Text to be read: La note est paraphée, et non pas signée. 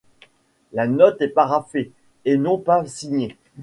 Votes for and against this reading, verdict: 2, 0, accepted